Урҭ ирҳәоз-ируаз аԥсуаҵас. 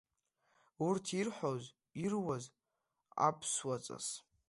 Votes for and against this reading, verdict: 2, 0, accepted